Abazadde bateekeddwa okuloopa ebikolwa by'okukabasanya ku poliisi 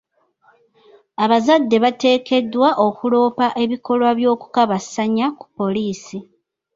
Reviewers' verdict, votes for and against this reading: accepted, 2, 0